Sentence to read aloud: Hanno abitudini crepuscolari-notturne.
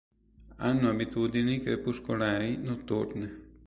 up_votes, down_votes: 2, 0